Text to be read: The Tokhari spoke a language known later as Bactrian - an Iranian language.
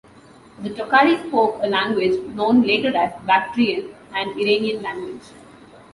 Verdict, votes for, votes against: accepted, 2, 0